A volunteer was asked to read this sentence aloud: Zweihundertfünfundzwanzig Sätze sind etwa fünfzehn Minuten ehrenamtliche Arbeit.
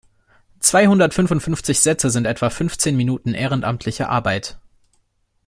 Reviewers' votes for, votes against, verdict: 0, 2, rejected